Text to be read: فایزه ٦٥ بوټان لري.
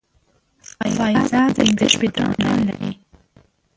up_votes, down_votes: 0, 2